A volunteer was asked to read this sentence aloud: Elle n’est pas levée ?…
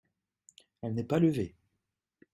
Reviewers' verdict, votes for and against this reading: accepted, 2, 0